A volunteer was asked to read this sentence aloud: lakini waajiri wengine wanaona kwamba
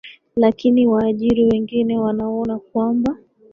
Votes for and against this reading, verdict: 2, 1, accepted